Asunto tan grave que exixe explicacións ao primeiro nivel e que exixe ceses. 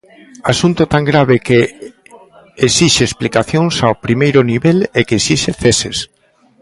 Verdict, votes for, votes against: accepted, 2, 0